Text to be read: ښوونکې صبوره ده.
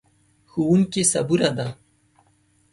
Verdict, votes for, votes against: accepted, 2, 0